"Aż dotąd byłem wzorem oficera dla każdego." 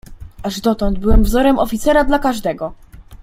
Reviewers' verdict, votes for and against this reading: accepted, 2, 0